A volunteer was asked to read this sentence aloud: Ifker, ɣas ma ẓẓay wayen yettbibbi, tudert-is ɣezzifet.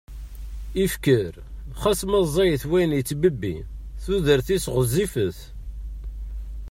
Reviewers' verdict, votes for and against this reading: rejected, 1, 2